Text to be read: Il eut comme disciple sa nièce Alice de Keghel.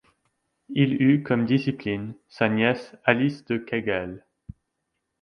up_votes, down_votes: 0, 2